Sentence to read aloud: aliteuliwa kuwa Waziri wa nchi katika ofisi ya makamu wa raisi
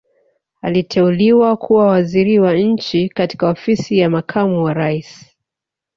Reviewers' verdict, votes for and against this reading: accepted, 2, 0